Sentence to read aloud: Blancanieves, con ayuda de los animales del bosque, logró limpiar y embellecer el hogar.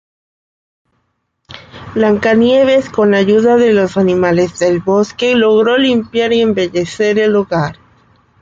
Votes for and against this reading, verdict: 2, 0, accepted